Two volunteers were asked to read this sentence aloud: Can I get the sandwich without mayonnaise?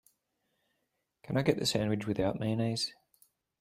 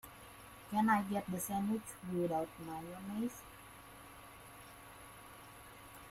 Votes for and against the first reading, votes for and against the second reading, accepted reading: 2, 0, 0, 2, first